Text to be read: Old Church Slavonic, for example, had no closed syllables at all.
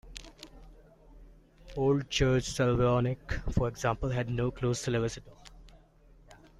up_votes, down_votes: 0, 2